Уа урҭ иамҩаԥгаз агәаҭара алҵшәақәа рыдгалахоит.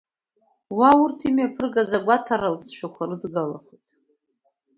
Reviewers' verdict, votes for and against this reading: rejected, 0, 2